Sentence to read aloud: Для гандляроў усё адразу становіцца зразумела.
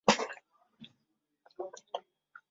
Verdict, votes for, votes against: rejected, 0, 2